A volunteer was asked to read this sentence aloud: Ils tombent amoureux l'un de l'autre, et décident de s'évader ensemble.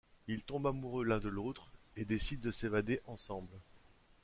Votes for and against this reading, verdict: 2, 0, accepted